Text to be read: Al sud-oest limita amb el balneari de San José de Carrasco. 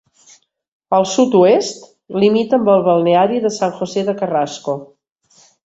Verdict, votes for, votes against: accepted, 2, 0